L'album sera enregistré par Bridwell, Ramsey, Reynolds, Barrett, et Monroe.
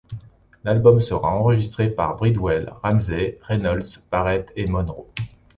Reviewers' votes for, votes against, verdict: 2, 0, accepted